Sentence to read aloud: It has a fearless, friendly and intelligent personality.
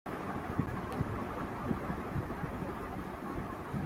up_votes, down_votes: 0, 2